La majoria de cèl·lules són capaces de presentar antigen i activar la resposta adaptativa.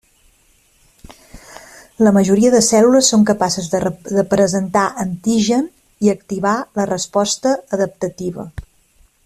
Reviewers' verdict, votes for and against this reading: rejected, 0, 2